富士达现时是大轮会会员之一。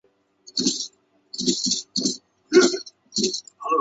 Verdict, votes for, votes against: rejected, 0, 3